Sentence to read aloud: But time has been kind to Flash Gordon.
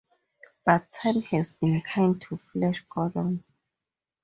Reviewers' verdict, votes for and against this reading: accepted, 4, 2